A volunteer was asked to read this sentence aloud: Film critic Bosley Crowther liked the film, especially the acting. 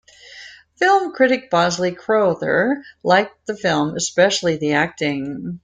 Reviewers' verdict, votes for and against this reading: accepted, 2, 0